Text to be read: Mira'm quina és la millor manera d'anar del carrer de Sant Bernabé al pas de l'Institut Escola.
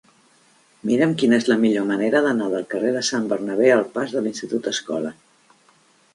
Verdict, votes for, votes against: accepted, 4, 0